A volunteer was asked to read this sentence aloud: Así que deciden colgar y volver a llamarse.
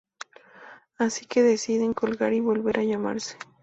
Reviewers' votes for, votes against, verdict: 2, 0, accepted